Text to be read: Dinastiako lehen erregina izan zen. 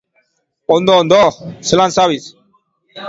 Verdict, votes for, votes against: rejected, 0, 2